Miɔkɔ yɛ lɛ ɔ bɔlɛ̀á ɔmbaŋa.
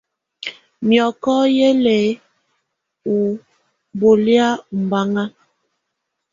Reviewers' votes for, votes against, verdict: 2, 0, accepted